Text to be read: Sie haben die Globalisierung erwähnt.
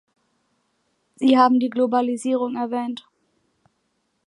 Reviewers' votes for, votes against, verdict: 2, 0, accepted